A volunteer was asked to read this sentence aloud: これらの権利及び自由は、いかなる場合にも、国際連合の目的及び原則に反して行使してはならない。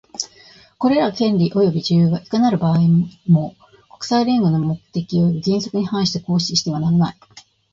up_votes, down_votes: 2, 0